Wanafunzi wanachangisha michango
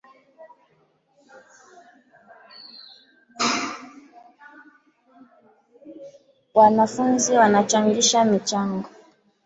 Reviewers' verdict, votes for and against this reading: rejected, 0, 2